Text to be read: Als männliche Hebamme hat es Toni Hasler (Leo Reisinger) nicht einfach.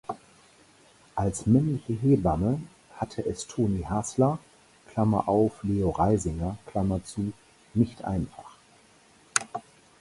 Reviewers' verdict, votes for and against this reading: rejected, 0, 4